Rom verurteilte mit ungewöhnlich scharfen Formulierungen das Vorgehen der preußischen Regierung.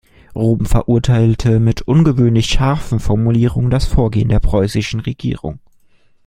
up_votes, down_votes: 2, 0